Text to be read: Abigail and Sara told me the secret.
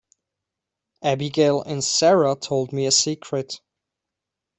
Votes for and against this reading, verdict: 0, 2, rejected